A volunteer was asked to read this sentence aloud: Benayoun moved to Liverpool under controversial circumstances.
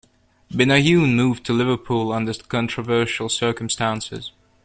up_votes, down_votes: 2, 0